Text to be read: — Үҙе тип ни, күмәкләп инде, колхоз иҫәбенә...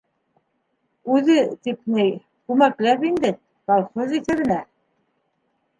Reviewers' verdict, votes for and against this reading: accepted, 2, 0